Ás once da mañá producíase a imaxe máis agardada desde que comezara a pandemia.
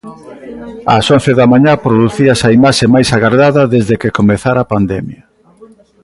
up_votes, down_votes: 2, 0